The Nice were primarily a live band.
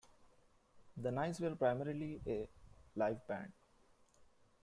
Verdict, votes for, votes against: accepted, 2, 1